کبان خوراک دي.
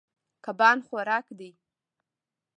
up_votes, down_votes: 1, 2